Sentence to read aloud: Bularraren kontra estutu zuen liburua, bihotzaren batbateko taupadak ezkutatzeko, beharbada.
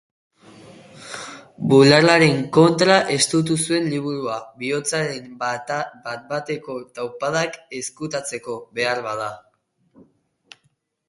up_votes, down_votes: 0, 6